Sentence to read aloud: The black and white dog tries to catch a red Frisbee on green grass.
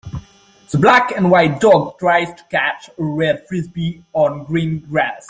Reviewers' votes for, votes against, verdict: 2, 0, accepted